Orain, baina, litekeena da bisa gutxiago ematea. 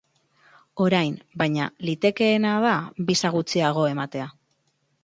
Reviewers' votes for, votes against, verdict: 0, 2, rejected